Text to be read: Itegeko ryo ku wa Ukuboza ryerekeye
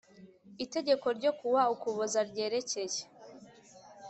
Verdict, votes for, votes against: accepted, 2, 0